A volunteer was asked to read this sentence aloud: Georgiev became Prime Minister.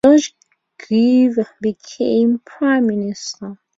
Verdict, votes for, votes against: rejected, 0, 2